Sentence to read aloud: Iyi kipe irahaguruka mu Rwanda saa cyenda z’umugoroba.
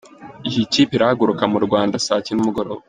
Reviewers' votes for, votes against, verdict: 2, 0, accepted